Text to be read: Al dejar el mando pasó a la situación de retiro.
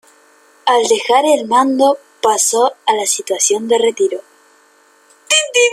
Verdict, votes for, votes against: rejected, 0, 2